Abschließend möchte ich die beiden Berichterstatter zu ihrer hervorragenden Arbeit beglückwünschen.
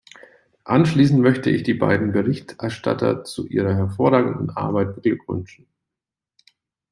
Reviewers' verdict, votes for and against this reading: rejected, 1, 2